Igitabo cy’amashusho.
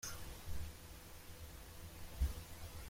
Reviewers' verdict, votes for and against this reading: rejected, 0, 2